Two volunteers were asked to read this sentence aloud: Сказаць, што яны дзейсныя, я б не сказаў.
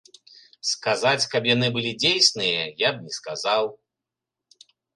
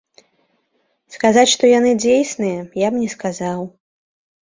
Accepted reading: second